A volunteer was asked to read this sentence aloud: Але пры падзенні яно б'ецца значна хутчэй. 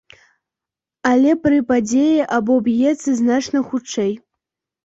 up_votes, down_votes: 0, 2